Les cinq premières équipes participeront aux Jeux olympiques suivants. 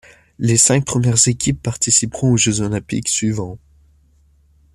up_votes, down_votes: 2, 0